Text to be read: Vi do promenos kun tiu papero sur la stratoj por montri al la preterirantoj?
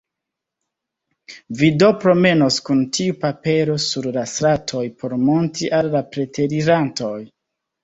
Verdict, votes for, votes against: accepted, 2, 0